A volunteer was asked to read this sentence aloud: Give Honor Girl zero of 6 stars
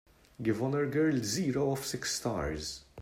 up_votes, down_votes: 0, 2